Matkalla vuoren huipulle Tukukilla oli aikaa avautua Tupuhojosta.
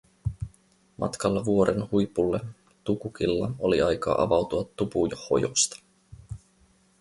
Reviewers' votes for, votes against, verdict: 0, 4, rejected